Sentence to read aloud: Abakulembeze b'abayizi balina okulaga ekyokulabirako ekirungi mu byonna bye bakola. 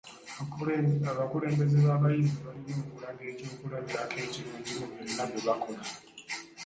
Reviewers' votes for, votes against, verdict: 0, 2, rejected